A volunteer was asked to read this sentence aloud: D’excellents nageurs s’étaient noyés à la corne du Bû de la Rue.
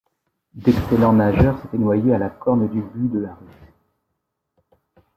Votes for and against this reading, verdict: 1, 2, rejected